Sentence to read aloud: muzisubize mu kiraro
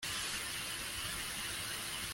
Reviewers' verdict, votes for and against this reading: rejected, 0, 2